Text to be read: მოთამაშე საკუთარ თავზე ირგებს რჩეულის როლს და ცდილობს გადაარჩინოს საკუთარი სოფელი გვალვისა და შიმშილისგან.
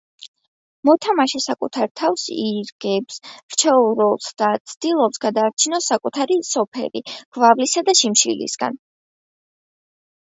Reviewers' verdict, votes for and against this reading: accepted, 3, 1